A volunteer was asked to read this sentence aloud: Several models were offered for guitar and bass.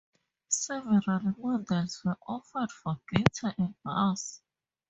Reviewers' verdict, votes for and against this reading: rejected, 0, 4